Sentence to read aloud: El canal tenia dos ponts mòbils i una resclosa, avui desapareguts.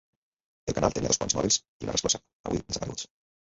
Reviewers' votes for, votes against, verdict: 0, 2, rejected